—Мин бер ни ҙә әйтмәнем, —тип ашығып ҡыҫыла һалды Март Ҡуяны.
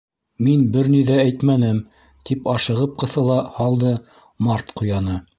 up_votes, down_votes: 2, 0